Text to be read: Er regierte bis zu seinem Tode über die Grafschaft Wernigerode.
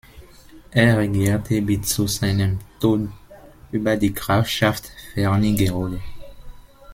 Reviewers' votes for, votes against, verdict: 0, 2, rejected